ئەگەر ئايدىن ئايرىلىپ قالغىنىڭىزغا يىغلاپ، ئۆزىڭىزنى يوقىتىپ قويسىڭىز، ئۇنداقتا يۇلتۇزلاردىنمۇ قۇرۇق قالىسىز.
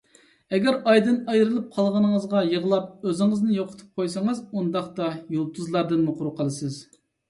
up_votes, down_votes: 2, 0